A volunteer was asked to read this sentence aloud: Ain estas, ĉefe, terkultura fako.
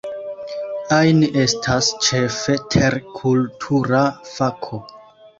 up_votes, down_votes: 2, 0